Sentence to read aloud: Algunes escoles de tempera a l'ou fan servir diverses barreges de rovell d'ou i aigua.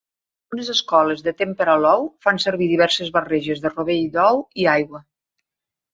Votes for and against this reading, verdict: 2, 3, rejected